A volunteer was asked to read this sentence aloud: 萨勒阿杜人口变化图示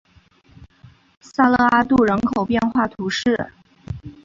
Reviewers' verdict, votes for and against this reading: accepted, 2, 0